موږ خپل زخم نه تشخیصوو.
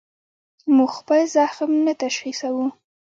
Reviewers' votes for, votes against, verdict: 2, 0, accepted